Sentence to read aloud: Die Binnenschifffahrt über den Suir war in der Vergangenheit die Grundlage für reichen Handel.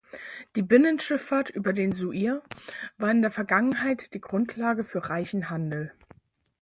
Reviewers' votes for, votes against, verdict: 4, 0, accepted